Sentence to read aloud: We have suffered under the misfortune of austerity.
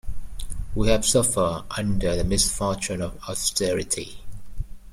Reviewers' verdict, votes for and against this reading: rejected, 0, 2